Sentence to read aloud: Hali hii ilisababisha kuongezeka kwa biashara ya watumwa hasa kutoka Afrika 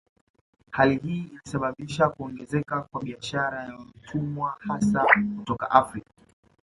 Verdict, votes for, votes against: accepted, 2, 0